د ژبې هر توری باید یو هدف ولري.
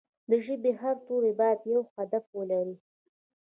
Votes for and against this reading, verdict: 2, 0, accepted